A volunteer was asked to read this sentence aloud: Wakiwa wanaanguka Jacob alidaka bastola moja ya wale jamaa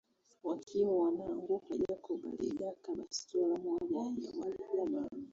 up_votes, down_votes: 0, 2